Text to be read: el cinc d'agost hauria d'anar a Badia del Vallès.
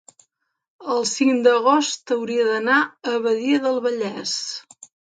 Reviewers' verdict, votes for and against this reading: accepted, 3, 0